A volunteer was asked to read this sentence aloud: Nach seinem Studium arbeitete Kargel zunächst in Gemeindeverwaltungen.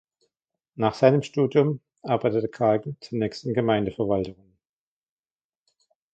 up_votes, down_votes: 1, 2